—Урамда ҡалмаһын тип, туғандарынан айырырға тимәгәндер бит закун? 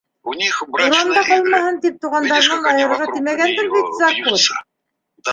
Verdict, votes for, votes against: rejected, 1, 2